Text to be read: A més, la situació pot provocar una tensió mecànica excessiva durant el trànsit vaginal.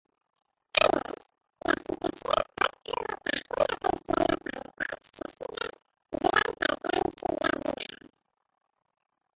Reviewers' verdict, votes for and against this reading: rejected, 0, 2